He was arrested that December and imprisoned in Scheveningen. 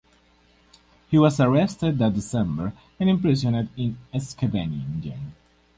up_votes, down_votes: 0, 4